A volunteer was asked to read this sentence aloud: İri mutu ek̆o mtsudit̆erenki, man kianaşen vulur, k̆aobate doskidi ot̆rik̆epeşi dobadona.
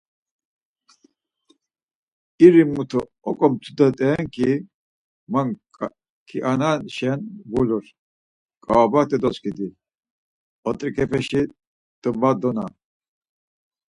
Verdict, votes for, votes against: rejected, 2, 4